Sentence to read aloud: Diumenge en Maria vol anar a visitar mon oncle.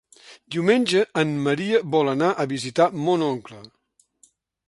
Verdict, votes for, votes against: accepted, 2, 0